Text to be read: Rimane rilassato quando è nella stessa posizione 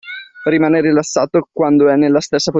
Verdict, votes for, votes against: rejected, 0, 2